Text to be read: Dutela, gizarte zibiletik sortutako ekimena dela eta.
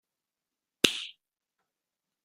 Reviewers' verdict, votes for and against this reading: rejected, 0, 2